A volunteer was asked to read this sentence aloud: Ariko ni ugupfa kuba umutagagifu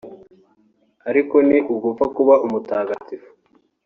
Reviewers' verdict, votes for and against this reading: accepted, 3, 0